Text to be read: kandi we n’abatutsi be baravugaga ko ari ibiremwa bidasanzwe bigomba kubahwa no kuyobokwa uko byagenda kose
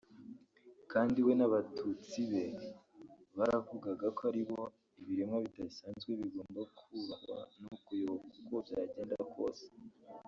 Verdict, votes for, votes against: rejected, 1, 2